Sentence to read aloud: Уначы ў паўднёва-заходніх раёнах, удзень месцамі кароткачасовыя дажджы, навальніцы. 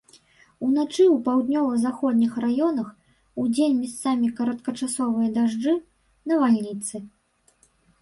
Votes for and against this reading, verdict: 1, 2, rejected